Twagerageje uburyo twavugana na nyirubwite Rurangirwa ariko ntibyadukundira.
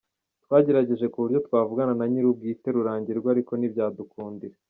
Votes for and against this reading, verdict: 1, 2, rejected